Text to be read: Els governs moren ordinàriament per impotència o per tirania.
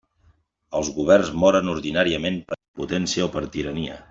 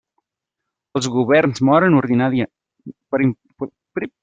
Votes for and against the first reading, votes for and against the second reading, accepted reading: 2, 0, 0, 2, first